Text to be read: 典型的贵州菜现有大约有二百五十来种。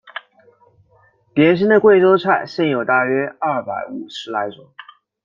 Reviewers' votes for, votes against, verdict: 2, 0, accepted